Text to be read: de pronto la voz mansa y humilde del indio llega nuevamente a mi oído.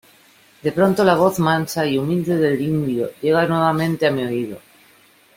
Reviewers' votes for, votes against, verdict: 2, 0, accepted